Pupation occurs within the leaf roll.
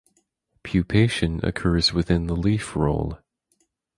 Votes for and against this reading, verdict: 4, 0, accepted